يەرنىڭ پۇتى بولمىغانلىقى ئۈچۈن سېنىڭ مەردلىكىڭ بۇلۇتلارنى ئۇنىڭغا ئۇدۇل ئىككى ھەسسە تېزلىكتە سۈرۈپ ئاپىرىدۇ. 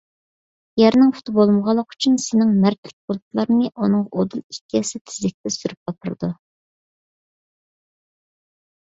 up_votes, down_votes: 1, 2